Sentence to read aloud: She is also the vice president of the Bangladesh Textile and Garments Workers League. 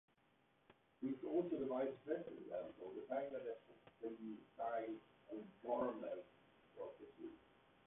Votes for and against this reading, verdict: 0, 2, rejected